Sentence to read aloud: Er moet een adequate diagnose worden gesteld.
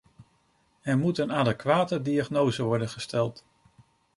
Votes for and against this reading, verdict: 2, 0, accepted